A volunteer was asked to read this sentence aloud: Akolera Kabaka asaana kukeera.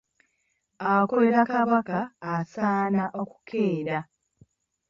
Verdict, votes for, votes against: rejected, 1, 2